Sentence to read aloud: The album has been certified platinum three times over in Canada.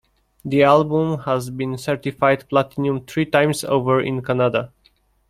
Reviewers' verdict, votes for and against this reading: accepted, 2, 0